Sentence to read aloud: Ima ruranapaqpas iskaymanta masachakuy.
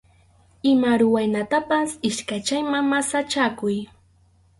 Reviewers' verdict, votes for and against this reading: rejected, 2, 2